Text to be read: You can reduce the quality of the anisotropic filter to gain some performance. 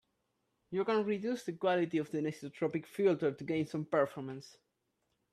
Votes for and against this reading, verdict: 0, 2, rejected